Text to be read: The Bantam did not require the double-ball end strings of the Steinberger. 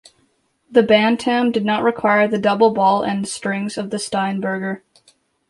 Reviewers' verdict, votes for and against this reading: accepted, 2, 0